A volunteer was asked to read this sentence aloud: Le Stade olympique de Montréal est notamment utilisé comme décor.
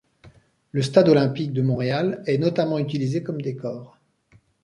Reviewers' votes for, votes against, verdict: 2, 0, accepted